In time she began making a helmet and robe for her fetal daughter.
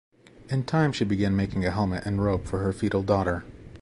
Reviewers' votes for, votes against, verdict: 2, 0, accepted